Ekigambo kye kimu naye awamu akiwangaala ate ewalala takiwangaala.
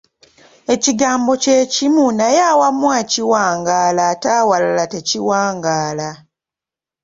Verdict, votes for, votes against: rejected, 1, 2